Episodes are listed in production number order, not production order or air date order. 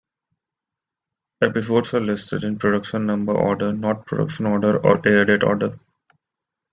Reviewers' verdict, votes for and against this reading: accepted, 2, 0